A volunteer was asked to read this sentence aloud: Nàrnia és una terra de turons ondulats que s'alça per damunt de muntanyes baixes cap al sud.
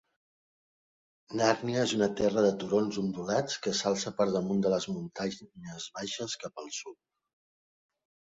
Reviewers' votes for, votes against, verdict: 0, 2, rejected